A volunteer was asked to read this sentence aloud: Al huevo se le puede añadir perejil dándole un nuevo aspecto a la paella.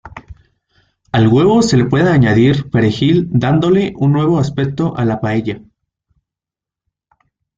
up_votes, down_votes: 2, 0